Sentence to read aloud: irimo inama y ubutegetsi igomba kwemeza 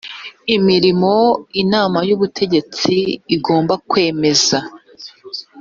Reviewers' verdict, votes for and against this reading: rejected, 1, 2